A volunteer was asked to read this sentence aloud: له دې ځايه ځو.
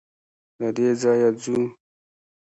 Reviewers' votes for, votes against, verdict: 2, 0, accepted